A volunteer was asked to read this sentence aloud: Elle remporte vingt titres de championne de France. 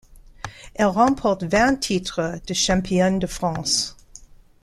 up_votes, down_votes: 2, 0